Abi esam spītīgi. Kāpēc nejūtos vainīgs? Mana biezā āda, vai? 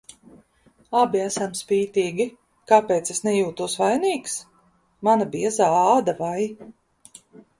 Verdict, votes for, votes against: rejected, 0, 2